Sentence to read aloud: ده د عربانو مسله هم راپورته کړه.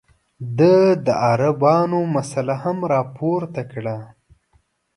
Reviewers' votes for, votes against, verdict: 2, 0, accepted